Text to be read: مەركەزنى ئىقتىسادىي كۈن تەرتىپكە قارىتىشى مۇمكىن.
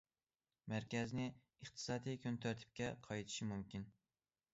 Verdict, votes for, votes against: rejected, 0, 2